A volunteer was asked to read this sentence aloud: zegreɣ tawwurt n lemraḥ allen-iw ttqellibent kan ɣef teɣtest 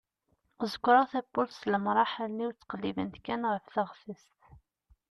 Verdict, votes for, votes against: rejected, 1, 2